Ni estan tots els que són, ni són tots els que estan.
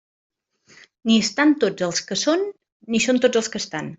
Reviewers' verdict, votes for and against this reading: accepted, 3, 0